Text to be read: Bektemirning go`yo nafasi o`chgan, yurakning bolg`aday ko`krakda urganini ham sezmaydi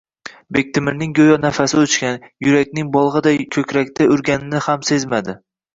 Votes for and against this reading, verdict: 1, 2, rejected